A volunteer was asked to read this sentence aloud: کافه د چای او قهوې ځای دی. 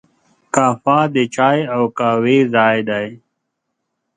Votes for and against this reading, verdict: 2, 0, accepted